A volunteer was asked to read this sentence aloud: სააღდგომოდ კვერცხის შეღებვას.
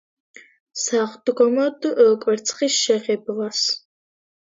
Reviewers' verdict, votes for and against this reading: accepted, 2, 0